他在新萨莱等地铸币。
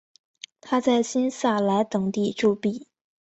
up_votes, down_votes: 6, 0